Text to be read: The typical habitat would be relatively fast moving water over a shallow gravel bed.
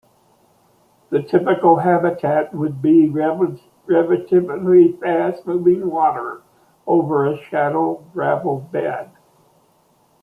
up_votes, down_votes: 1, 2